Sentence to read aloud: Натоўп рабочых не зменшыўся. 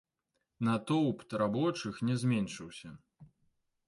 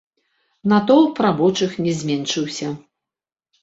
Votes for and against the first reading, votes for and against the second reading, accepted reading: 0, 2, 2, 0, second